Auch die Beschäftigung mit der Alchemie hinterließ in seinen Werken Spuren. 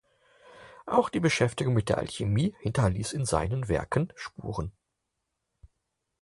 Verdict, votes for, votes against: accepted, 4, 0